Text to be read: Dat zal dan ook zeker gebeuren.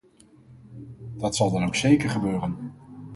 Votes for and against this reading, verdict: 4, 0, accepted